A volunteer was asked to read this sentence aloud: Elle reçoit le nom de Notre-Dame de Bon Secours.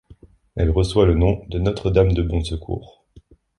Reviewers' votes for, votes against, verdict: 2, 0, accepted